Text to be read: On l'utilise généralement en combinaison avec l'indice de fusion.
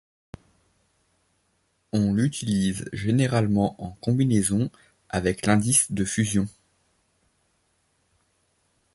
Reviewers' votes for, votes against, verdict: 2, 1, accepted